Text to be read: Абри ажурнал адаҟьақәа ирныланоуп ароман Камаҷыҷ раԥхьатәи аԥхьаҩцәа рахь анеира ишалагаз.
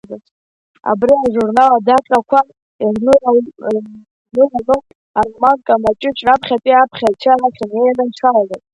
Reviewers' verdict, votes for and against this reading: rejected, 0, 2